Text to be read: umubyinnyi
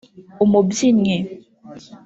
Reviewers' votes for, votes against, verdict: 0, 2, rejected